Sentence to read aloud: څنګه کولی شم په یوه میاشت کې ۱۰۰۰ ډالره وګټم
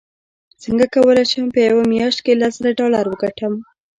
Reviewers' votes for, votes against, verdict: 0, 2, rejected